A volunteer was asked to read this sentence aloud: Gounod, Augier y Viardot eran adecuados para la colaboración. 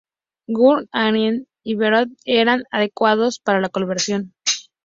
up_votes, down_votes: 2, 2